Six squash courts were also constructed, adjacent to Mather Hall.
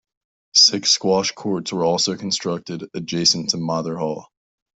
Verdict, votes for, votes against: accepted, 2, 0